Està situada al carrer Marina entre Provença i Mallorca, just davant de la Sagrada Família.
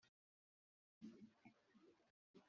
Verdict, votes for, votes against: rejected, 0, 2